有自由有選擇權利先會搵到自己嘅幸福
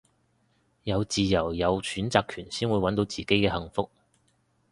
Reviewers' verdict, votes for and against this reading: rejected, 0, 2